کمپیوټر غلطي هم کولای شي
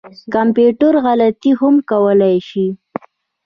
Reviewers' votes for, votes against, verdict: 1, 2, rejected